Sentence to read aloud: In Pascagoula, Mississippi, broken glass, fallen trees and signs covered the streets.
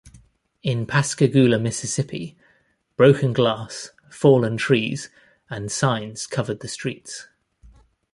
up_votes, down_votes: 2, 0